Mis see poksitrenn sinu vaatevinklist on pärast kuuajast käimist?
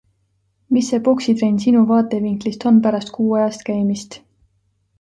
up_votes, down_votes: 2, 0